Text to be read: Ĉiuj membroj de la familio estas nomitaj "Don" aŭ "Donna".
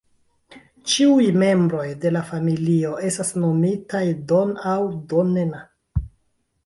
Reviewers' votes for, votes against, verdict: 0, 2, rejected